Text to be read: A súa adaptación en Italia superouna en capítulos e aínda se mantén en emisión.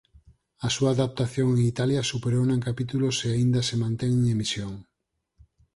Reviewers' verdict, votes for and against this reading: accepted, 6, 0